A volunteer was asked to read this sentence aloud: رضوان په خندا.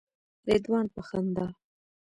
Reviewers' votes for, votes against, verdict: 1, 2, rejected